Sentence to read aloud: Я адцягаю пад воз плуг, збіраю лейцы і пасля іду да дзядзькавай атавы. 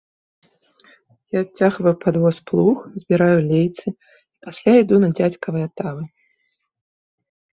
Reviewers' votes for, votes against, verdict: 1, 2, rejected